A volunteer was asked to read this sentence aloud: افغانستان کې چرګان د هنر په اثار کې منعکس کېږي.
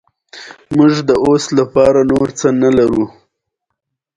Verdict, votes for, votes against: rejected, 1, 2